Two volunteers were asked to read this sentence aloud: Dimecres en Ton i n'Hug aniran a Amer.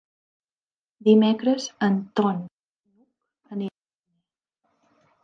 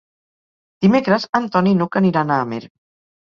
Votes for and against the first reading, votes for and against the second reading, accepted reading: 0, 2, 2, 0, second